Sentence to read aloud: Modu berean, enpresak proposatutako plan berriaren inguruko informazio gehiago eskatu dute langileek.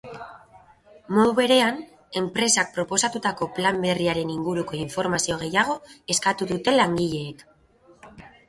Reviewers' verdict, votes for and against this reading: accepted, 3, 0